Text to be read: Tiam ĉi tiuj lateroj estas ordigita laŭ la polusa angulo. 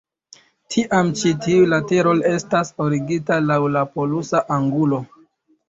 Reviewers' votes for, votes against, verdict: 2, 0, accepted